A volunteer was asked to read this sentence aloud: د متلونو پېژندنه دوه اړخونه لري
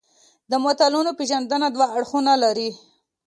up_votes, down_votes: 2, 0